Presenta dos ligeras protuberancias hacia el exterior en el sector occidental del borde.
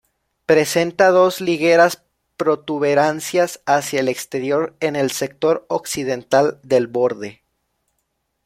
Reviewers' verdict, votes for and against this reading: rejected, 0, 2